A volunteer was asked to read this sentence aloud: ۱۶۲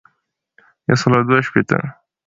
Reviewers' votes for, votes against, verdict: 0, 2, rejected